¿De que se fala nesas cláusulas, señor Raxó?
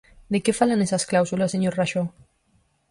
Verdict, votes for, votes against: rejected, 2, 4